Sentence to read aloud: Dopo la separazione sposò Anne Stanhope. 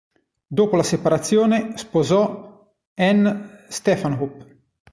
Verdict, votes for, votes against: rejected, 1, 2